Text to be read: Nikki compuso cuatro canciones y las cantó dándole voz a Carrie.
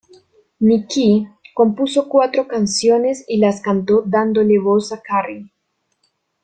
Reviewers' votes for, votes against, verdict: 2, 0, accepted